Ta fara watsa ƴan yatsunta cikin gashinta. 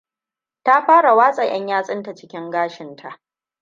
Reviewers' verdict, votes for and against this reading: rejected, 1, 2